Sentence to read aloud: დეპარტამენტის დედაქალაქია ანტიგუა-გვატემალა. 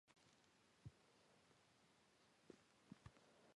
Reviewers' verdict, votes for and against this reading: rejected, 1, 2